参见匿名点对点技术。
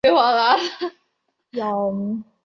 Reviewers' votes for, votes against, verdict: 1, 2, rejected